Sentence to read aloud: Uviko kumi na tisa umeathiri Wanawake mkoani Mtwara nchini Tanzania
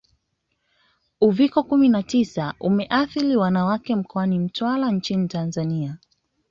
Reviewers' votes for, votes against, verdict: 2, 0, accepted